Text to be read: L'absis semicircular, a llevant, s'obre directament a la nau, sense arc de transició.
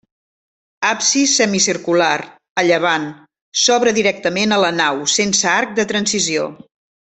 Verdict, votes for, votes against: rejected, 0, 2